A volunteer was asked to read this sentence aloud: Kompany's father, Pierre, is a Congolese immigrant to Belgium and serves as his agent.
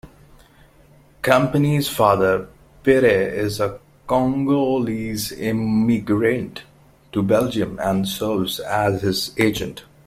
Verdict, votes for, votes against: rejected, 0, 2